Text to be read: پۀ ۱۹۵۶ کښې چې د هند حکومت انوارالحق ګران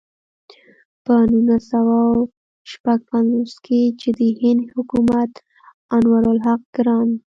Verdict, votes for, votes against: rejected, 0, 2